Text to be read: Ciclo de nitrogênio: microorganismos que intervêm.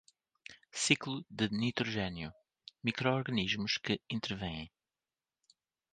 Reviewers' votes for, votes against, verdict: 2, 1, accepted